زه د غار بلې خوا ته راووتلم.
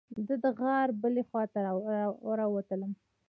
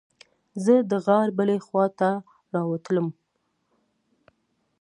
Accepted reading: second